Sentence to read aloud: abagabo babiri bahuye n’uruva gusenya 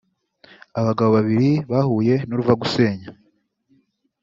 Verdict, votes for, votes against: accepted, 2, 0